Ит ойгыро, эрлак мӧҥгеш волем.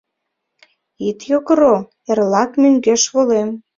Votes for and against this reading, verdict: 0, 2, rejected